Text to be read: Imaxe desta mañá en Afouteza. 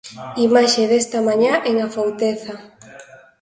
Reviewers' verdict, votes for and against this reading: accepted, 2, 1